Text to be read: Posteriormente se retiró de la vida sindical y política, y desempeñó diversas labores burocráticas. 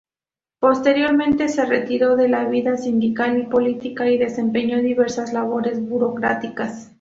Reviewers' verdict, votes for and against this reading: accepted, 4, 0